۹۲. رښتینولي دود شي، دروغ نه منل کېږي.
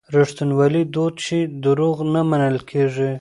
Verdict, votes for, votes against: rejected, 0, 2